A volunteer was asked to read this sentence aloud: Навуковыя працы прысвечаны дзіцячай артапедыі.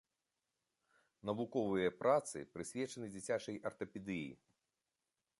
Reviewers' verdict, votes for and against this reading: accepted, 2, 0